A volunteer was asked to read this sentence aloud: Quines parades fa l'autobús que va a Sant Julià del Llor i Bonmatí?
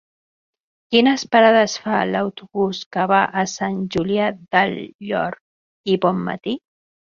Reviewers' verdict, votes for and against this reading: rejected, 0, 2